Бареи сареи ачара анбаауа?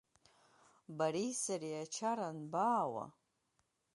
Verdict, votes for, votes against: accepted, 2, 0